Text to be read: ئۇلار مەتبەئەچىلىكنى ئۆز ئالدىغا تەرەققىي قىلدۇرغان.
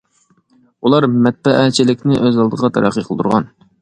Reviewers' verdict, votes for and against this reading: accepted, 2, 0